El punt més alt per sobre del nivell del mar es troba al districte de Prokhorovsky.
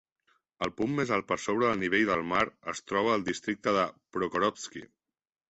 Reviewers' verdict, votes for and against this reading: accepted, 2, 0